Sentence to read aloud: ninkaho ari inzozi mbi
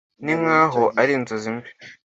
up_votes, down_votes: 2, 0